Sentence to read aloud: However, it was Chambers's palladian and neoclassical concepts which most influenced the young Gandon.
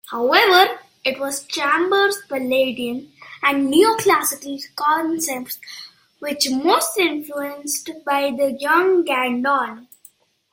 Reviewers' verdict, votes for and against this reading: rejected, 0, 2